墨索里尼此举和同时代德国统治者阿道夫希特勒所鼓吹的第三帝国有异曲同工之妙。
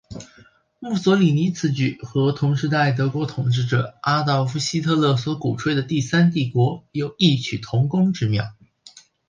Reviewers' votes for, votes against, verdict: 2, 0, accepted